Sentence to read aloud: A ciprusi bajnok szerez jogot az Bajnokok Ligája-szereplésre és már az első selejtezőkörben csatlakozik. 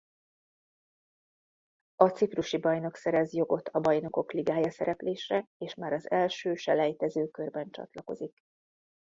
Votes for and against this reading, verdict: 1, 2, rejected